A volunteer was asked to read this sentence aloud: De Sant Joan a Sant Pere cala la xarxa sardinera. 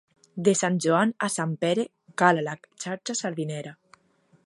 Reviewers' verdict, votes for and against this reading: rejected, 1, 2